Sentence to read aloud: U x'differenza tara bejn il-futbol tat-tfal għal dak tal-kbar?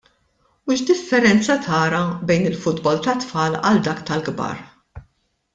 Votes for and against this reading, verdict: 2, 0, accepted